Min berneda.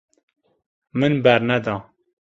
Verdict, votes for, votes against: accepted, 2, 0